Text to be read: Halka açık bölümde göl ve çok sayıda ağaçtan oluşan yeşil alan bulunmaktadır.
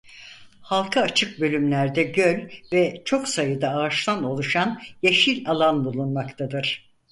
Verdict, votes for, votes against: rejected, 0, 4